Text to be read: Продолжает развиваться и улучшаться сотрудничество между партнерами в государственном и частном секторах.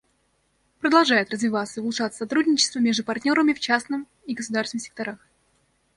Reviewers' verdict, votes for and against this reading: rejected, 1, 2